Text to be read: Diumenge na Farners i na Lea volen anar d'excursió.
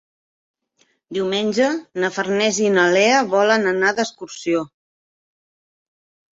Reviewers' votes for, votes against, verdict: 4, 0, accepted